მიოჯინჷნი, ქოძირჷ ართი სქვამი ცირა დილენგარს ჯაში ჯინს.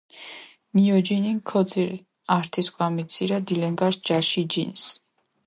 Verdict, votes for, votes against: rejected, 1, 2